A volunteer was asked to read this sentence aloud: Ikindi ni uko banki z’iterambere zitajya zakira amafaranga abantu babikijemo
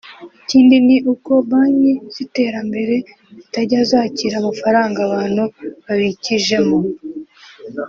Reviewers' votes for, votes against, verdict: 2, 0, accepted